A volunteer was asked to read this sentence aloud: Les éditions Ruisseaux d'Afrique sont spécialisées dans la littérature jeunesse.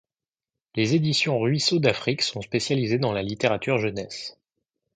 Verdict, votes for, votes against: accepted, 2, 0